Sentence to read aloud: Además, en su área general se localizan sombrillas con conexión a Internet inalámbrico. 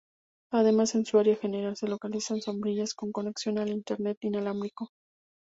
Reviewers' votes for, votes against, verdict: 2, 0, accepted